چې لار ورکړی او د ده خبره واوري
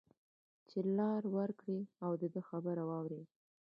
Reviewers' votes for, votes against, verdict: 2, 1, accepted